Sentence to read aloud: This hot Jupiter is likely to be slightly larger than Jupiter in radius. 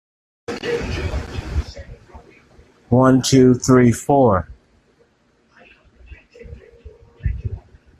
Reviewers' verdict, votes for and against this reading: rejected, 0, 2